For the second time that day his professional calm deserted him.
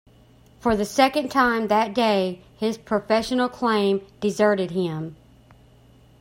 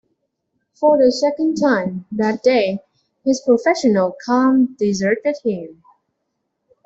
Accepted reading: second